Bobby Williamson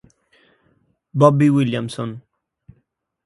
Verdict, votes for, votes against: accepted, 3, 0